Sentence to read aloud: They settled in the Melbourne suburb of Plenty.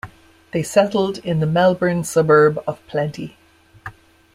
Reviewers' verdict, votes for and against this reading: accepted, 2, 0